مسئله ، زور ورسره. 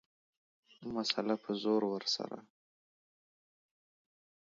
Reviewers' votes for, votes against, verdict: 1, 2, rejected